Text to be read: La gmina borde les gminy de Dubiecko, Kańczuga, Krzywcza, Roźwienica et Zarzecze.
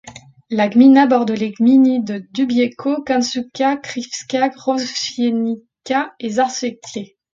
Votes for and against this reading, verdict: 1, 2, rejected